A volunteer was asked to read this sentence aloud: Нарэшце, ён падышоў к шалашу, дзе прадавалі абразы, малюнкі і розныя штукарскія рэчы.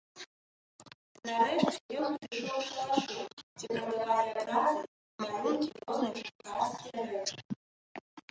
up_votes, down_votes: 0, 2